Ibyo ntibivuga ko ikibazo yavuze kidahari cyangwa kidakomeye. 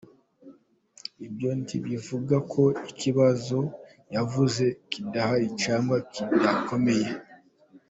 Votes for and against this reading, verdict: 1, 3, rejected